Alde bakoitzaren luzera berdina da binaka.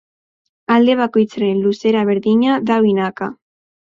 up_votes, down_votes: 4, 0